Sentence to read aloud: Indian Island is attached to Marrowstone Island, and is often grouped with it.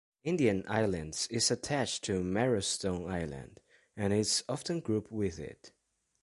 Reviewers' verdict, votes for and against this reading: rejected, 0, 2